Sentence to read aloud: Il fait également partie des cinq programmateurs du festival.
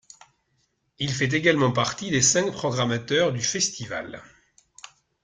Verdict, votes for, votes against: accepted, 2, 0